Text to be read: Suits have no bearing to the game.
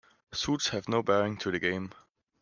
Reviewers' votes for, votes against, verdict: 2, 0, accepted